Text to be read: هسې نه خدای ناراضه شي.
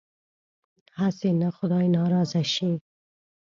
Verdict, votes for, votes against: accepted, 2, 0